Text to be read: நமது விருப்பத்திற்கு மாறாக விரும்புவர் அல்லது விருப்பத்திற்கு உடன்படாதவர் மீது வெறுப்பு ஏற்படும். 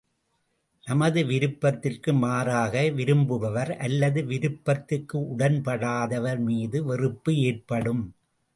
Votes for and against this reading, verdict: 2, 0, accepted